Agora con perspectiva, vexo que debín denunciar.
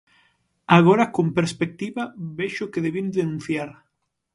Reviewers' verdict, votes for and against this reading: accepted, 6, 0